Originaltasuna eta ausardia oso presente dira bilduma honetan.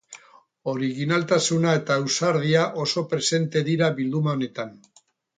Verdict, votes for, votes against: accepted, 4, 0